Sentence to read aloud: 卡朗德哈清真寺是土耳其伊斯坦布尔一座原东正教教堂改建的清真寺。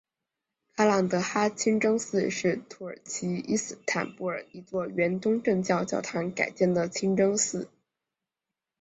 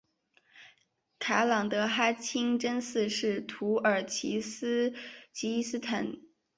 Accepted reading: first